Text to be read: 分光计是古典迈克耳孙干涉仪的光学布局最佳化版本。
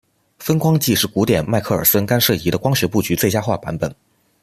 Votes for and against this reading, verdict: 2, 0, accepted